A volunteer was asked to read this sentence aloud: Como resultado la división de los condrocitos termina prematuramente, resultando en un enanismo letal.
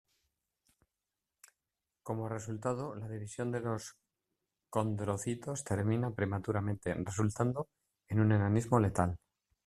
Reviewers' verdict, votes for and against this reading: accepted, 2, 0